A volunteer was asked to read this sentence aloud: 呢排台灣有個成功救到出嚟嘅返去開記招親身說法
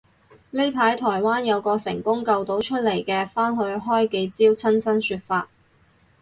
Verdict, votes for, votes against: accepted, 2, 0